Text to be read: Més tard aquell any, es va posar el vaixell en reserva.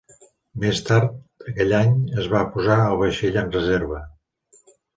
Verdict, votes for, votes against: accepted, 3, 0